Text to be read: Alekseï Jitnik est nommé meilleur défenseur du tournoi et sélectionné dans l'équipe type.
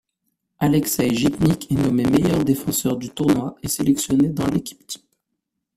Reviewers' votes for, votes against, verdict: 1, 2, rejected